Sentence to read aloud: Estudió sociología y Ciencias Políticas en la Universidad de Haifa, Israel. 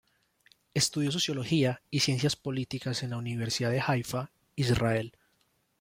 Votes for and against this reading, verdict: 3, 0, accepted